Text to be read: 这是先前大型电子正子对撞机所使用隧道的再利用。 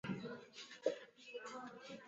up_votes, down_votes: 4, 1